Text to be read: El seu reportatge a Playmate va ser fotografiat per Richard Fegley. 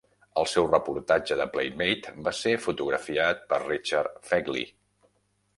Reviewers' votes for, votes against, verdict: 0, 2, rejected